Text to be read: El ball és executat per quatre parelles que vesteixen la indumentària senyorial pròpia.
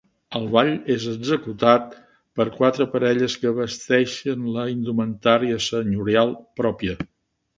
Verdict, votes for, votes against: accepted, 2, 0